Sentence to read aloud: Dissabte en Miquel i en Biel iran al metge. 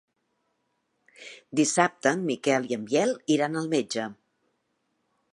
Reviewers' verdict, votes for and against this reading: accepted, 4, 0